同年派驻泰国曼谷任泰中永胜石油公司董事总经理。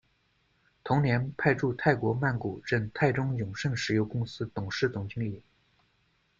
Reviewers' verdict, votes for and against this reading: accepted, 2, 0